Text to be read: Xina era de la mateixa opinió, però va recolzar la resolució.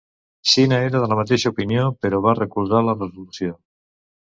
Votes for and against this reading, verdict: 0, 2, rejected